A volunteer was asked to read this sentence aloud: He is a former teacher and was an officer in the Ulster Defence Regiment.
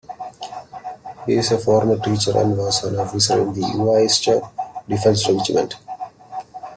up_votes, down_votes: 1, 2